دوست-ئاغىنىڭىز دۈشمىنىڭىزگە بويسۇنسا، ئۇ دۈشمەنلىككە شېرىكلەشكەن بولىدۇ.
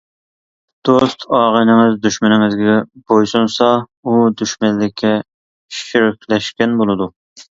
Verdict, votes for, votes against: accepted, 2, 1